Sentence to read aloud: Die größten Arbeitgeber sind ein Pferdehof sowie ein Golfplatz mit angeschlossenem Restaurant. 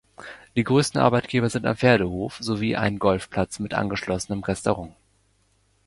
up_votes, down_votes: 2, 0